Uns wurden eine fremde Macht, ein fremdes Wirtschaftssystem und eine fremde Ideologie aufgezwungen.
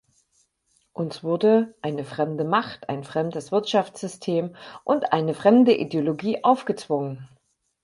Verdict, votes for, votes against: rejected, 2, 4